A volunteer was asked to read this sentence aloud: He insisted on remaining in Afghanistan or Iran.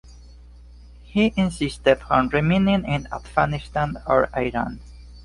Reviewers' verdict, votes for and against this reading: accepted, 2, 0